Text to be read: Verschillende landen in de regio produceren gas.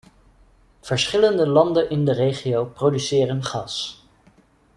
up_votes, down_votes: 2, 0